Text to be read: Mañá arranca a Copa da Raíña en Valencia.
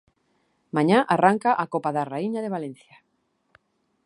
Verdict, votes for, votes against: rejected, 1, 2